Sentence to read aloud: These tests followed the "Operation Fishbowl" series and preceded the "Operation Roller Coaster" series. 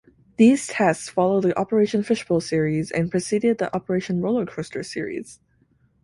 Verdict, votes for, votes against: accepted, 2, 0